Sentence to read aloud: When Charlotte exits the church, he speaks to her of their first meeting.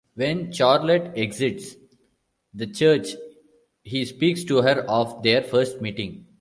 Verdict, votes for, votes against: rejected, 0, 2